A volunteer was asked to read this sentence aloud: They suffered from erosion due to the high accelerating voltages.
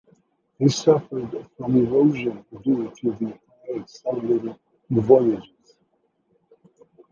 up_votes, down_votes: 2, 1